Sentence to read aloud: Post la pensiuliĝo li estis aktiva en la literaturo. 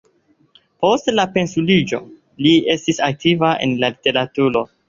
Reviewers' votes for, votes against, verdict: 3, 1, accepted